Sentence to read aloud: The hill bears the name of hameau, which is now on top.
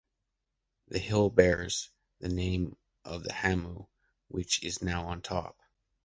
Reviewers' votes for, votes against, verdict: 1, 2, rejected